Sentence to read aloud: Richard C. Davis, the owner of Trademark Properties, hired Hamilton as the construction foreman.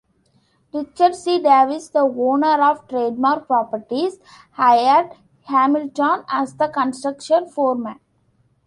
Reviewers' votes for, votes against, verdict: 2, 0, accepted